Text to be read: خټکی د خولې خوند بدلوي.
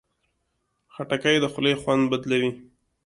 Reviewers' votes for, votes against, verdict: 2, 0, accepted